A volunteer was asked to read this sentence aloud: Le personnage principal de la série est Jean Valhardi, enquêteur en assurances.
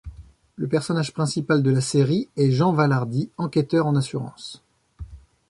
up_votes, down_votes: 2, 0